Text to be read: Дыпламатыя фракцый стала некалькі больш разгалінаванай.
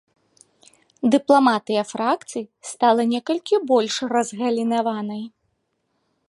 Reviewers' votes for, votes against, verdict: 2, 0, accepted